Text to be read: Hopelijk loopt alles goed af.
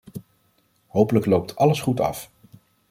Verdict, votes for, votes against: accepted, 2, 0